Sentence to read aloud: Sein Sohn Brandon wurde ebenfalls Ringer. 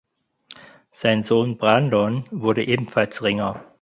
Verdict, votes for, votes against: rejected, 2, 4